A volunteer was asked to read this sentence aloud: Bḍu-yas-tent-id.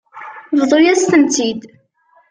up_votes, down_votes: 0, 2